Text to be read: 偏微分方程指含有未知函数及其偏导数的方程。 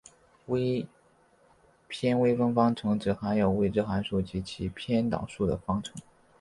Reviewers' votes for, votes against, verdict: 4, 0, accepted